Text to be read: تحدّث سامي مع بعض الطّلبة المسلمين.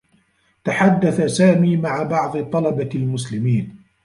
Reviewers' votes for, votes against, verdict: 1, 2, rejected